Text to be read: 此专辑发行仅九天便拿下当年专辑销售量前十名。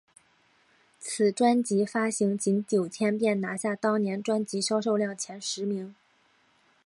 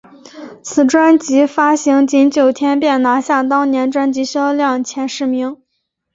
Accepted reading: first